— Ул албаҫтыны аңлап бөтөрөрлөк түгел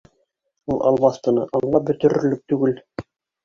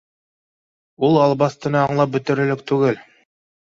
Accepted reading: second